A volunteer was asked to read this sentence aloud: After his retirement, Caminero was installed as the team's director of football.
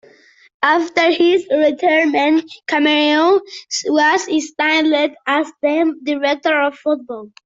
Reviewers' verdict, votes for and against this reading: rejected, 0, 2